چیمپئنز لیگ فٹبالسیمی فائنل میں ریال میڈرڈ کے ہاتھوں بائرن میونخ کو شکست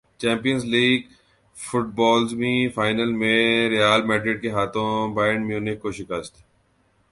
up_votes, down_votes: 0, 2